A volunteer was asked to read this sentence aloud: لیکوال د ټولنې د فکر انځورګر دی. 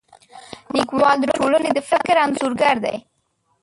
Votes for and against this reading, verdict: 0, 2, rejected